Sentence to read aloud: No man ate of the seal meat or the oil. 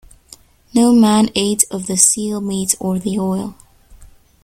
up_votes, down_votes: 2, 0